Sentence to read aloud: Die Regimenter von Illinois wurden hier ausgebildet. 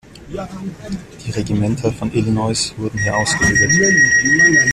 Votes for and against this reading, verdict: 2, 0, accepted